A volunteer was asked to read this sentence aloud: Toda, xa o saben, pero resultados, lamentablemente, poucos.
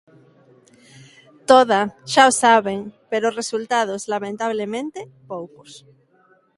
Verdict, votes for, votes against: accepted, 2, 0